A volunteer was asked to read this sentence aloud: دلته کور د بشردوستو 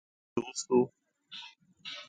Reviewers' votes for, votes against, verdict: 0, 2, rejected